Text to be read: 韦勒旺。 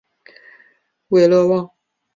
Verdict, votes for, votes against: accepted, 2, 0